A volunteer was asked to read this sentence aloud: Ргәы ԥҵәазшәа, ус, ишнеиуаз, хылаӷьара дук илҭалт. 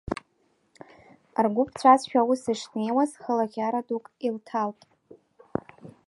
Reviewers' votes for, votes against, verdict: 2, 0, accepted